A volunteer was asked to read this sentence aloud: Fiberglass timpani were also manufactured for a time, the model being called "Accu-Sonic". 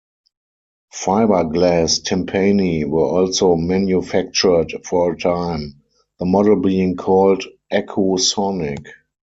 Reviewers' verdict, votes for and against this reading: rejected, 2, 4